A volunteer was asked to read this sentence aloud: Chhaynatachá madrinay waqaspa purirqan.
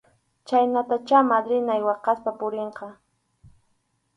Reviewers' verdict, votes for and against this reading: accepted, 4, 0